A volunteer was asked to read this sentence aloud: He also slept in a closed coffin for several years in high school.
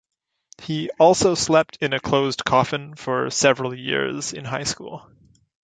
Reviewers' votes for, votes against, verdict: 2, 0, accepted